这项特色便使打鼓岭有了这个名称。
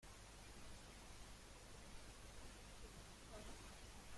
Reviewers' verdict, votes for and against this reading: rejected, 0, 2